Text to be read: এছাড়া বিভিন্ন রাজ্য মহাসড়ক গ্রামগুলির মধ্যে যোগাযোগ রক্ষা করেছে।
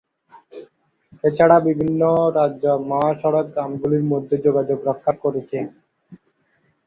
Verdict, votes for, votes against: accepted, 2, 0